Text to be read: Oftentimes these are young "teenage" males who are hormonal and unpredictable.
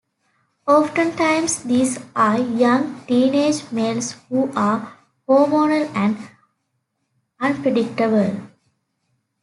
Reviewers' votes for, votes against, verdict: 2, 0, accepted